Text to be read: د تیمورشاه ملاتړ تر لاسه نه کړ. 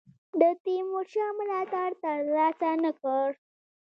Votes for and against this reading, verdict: 2, 0, accepted